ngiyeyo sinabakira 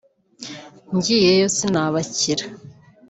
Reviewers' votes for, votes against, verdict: 2, 0, accepted